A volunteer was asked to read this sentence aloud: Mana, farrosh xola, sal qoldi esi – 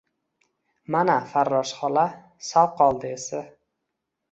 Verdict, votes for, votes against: accepted, 2, 0